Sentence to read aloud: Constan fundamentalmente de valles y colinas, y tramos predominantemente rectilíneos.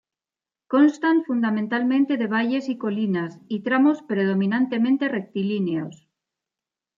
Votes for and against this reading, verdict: 2, 0, accepted